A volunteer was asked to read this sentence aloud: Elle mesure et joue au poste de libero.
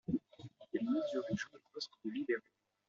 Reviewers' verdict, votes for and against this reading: rejected, 0, 2